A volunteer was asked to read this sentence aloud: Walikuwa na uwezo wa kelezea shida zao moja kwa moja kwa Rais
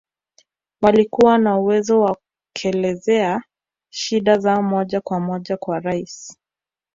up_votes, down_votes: 0, 2